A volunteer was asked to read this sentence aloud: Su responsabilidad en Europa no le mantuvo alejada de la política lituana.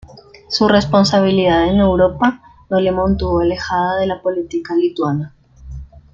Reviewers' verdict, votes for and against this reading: rejected, 0, 2